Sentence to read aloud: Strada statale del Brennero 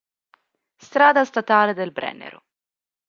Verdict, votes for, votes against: accepted, 2, 0